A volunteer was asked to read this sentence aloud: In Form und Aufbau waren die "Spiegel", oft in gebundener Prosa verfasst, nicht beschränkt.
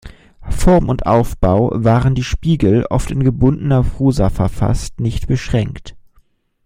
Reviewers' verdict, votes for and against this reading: rejected, 1, 2